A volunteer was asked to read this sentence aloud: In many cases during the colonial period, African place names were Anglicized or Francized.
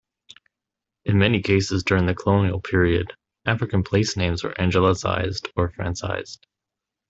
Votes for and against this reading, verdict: 1, 2, rejected